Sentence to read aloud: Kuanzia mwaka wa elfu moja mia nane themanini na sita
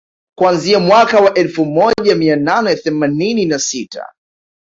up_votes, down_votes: 2, 0